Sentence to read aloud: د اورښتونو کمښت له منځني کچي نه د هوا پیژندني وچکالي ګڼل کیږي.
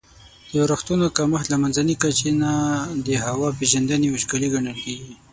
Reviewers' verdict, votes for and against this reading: rejected, 3, 6